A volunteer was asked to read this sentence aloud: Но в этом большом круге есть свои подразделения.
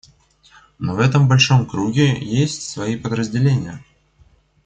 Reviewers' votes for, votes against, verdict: 2, 1, accepted